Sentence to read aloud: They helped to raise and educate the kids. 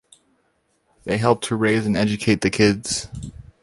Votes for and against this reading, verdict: 2, 0, accepted